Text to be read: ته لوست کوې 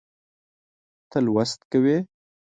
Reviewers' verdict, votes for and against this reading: accepted, 2, 0